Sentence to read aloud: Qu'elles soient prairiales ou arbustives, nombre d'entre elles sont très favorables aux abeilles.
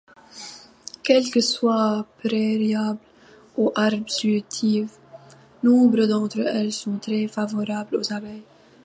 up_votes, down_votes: 0, 2